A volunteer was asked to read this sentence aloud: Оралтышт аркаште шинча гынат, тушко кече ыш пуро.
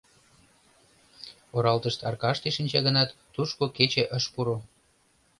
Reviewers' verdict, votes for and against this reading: accepted, 2, 0